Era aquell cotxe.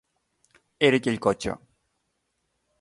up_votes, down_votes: 2, 0